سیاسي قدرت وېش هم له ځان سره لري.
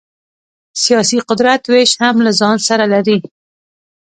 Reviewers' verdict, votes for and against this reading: accepted, 2, 0